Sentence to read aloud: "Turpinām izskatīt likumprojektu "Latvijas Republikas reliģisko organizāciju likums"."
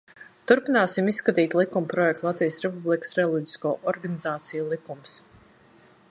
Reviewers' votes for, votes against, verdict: 1, 2, rejected